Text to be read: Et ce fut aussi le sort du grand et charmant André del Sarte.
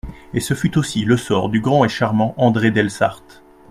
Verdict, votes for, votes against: accepted, 2, 0